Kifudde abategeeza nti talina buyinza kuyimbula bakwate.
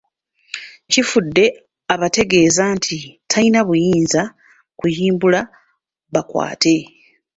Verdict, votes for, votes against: rejected, 0, 2